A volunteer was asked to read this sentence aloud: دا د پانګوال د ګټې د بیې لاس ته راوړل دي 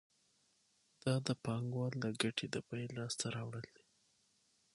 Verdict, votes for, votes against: accepted, 6, 0